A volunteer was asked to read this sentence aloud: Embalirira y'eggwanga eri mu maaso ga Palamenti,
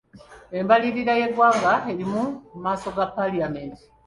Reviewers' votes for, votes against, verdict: 1, 2, rejected